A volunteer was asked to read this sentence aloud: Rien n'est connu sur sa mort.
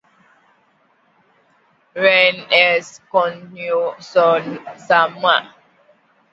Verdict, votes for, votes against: rejected, 0, 2